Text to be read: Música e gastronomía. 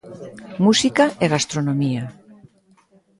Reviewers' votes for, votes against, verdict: 2, 0, accepted